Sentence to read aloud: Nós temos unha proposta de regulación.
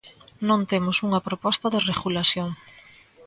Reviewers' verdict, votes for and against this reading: rejected, 0, 2